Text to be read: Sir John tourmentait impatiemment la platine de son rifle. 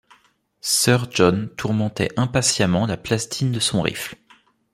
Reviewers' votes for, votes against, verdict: 0, 2, rejected